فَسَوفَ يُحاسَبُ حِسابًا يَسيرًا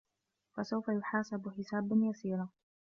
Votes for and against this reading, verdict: 2, 0, accepted